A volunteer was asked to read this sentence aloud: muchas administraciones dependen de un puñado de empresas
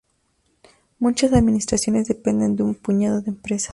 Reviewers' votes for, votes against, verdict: 0, 2, rejected